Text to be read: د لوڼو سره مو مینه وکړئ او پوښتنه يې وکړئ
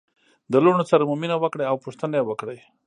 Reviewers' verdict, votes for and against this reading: accepted, 2, 0